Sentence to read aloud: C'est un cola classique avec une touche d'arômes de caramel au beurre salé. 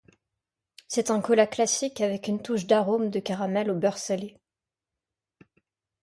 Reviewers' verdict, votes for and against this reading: accepted, 2, 0